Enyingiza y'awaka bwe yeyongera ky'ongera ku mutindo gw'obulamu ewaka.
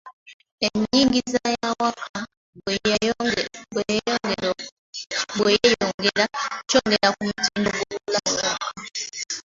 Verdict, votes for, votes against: rejected, 0, 2